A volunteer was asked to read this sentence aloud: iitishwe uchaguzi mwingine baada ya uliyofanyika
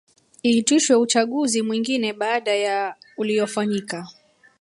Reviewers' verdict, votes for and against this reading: rejected, 1, 2